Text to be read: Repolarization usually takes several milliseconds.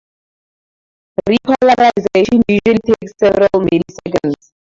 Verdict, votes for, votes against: rejected, 0, 2